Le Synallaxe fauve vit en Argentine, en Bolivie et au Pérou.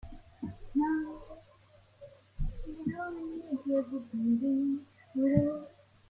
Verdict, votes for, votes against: rejected, 0, 2